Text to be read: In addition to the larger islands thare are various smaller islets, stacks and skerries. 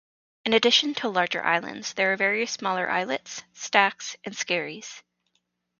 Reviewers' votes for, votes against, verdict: 2, 0, accepted